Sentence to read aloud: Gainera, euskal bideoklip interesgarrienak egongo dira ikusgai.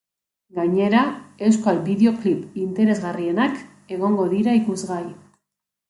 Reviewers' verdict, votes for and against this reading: accepted, 2, 0